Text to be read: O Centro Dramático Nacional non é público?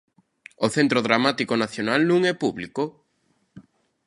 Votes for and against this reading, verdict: 2, 0, accepted